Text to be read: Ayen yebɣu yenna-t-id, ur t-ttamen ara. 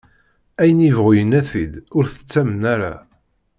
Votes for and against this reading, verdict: 2, 0, accepted